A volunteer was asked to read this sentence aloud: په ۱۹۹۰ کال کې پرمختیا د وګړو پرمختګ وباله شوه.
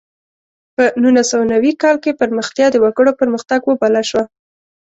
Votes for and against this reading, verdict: 0, 2, rejected